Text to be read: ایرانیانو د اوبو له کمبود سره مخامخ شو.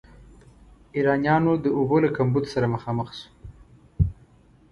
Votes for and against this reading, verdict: 2, 0, accepted